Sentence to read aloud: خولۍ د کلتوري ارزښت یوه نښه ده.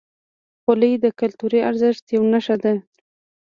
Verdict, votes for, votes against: accepted, 2, 0